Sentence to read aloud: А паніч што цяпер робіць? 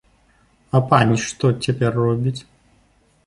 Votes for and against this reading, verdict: 2, 0, accepted